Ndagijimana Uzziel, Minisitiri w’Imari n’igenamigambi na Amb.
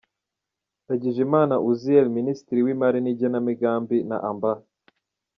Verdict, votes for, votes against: accepted, 2, 0